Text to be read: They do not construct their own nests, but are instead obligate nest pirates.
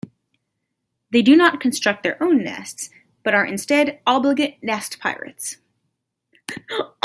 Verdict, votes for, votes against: accepted, 2, 0